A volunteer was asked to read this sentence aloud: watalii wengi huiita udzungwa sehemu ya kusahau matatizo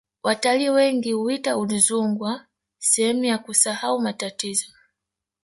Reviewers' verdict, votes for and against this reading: rejected, 1, 2